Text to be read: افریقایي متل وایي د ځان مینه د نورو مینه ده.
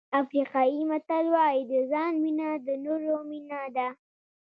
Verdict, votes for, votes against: accepted, 2, 0